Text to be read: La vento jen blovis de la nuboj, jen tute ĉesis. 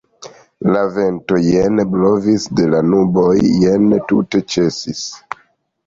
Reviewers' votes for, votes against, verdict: 2, 0, accepted